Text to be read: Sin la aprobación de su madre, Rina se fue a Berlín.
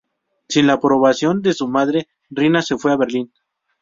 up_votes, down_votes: 2, 0